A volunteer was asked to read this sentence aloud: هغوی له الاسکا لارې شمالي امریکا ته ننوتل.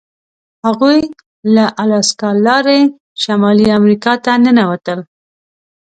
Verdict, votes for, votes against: accepted, 2, 0